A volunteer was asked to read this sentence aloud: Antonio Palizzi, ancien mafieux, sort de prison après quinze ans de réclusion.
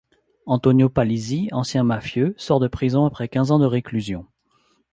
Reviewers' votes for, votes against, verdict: 2, 0, accepted